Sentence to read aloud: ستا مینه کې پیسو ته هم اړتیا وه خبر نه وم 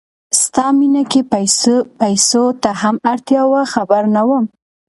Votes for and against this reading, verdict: 2, 0, accepted